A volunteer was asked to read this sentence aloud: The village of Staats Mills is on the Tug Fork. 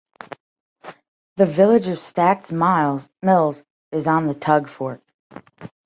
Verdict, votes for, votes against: rejected, 0, 2